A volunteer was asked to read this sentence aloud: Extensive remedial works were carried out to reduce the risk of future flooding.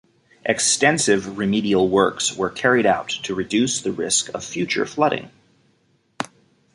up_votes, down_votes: 2, 0